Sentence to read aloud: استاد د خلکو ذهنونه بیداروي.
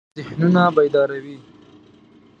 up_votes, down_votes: 0, 2